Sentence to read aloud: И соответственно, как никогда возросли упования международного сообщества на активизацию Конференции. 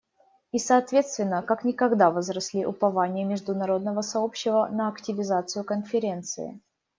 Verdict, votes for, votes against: rejected, 0, 2